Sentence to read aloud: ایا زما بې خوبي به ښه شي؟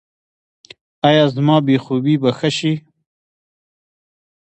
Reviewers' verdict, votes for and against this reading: rejected, 1, 2